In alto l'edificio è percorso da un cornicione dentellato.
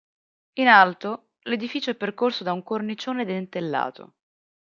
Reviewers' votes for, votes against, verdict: 2, 0, accepted